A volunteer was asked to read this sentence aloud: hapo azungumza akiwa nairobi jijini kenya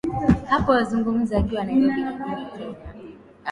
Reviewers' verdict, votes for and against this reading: rejected, 0, 2